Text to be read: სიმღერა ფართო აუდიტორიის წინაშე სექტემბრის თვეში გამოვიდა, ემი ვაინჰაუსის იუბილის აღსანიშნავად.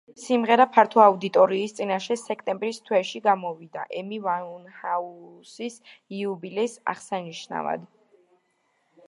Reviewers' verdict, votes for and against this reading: rejected, 1, 2